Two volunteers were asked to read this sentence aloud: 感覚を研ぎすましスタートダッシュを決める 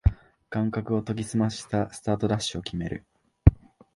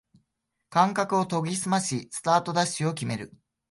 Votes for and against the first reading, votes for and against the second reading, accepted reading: 1, 2, 2, 0, second